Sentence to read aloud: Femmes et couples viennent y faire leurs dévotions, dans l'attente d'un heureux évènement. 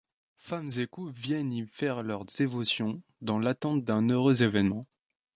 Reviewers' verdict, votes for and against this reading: rejected, 0, 2